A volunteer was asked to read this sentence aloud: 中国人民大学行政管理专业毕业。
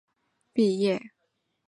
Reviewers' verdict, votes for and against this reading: rejected, 0, 6